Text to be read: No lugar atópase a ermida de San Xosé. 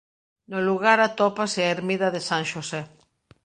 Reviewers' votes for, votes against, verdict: 1, 2, rejected